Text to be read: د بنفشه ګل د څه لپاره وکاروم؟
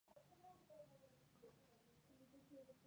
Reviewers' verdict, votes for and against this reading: rejected, 1, 2